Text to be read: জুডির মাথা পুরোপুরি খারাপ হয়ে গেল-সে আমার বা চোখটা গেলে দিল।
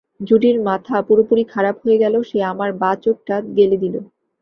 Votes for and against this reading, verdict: 2, 0, accepted